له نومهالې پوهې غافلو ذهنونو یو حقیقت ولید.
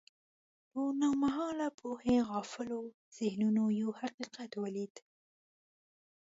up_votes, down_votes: 1, 2